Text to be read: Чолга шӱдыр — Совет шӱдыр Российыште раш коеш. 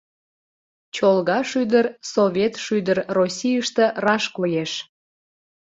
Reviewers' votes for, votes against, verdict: 2, 0, accepted